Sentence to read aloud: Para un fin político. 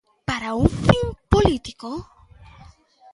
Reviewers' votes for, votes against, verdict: 2, 0, accepted